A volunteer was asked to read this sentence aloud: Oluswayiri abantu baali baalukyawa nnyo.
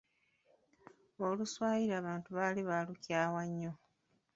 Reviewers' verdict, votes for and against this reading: rejected, 1, 2